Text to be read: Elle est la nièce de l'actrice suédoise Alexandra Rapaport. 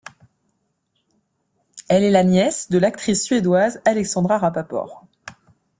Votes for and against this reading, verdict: 2, 0, accepted